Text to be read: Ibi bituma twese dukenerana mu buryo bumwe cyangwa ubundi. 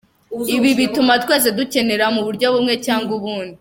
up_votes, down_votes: 2, 3